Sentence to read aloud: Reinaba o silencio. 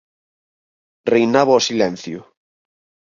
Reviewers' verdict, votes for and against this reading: accepted, 4, 0